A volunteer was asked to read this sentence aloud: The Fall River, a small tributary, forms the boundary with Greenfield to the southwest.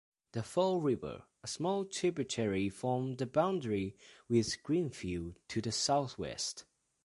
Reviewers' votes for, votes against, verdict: 2, 1, accepted